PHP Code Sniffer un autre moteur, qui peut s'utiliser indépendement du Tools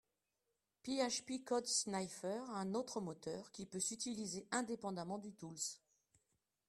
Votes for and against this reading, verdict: 1, 2, rejected